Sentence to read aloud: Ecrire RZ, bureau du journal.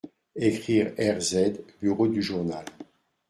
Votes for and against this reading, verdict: 2, 0, accepted